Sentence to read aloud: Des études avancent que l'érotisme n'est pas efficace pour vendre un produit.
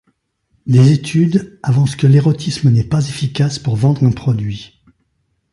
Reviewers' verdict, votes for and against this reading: rejected, 1, 2